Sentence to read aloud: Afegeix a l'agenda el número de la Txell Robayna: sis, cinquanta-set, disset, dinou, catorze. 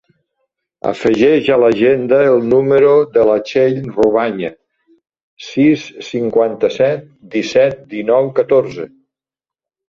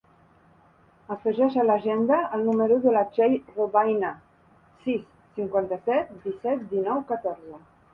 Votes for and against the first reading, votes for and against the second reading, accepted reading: 0, 2, 2, 0, second